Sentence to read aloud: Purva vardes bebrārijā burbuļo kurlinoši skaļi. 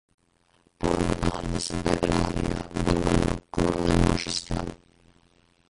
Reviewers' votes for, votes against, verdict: 0, 2, rejected